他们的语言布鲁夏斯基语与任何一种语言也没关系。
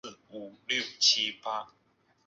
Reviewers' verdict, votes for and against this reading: rejected, 1, 3